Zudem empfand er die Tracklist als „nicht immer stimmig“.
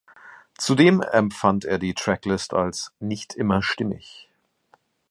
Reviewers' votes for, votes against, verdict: 2, 0, accepted